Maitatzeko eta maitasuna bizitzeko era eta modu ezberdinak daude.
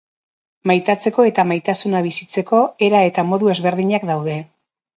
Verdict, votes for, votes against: accepted, 2, 0